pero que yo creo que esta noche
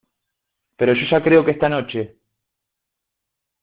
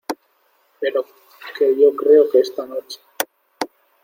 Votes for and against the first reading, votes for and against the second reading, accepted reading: 0, 2, 2, 0, second